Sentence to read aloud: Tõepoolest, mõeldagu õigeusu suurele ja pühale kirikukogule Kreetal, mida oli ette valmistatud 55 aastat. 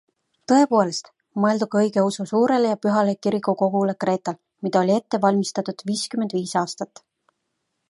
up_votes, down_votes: 0, 2